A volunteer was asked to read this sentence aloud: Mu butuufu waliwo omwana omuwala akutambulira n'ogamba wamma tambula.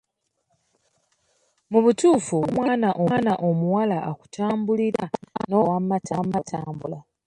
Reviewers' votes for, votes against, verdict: 1, 2, rejected